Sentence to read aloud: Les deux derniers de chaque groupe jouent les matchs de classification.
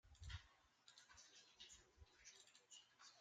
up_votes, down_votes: 0, 2